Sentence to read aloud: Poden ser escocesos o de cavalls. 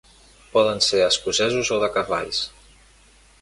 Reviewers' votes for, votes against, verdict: 2, 0, accepted